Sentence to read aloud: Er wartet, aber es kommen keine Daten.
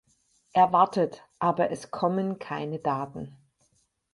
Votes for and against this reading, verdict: 4, 0, accepted